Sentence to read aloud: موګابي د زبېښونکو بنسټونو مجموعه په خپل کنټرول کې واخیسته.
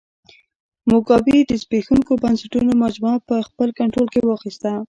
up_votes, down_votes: 2, 1